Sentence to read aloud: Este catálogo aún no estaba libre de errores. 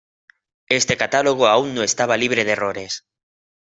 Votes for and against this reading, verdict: 2, 0, accepted